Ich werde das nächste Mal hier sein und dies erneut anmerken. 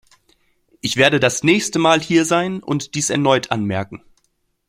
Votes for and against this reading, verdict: 2, 0, accepted